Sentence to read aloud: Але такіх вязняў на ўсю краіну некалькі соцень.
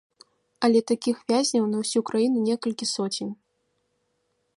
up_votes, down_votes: 2, 0